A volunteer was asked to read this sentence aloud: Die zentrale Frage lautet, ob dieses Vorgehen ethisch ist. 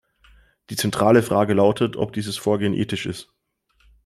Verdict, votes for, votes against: accepted, 2, 0